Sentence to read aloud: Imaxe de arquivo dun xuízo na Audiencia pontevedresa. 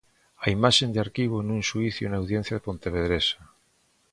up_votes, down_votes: 0, 3